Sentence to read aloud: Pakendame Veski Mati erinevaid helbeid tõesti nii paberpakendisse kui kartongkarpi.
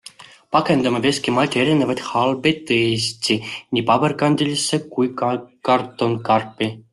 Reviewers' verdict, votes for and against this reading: rejected, 0, 2